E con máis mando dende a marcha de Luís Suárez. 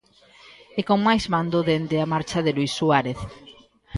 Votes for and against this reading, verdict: 1, 2, rejected